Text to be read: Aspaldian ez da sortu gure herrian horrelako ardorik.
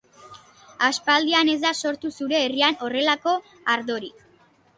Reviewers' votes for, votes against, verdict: 1, 3, rejected